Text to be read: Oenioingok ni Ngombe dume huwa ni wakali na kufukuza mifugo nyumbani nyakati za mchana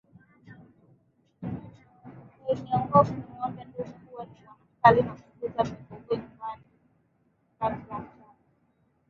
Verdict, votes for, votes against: rejected, 2, 3